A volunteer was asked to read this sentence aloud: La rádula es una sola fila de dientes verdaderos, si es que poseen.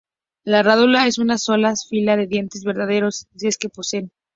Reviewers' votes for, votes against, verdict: 2, 0, accepted